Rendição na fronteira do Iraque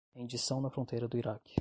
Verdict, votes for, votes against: rejected, 0, 5